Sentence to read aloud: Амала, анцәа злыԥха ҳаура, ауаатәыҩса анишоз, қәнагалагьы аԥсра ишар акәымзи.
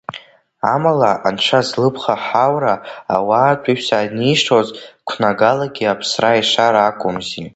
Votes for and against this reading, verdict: 2, 0, accepted